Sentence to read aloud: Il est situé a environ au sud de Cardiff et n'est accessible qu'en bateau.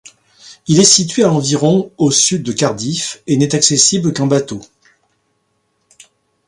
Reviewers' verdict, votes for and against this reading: accepted, 2, 0